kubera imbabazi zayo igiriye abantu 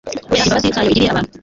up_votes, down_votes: 1, 2